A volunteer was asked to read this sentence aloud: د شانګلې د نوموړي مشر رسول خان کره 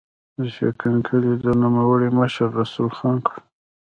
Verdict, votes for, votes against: rejected, 1, 2